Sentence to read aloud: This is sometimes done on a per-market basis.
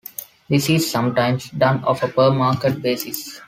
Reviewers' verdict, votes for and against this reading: rejected, 0, 2